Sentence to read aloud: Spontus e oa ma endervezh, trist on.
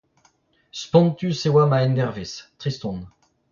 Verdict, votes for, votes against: rejected, 0, 2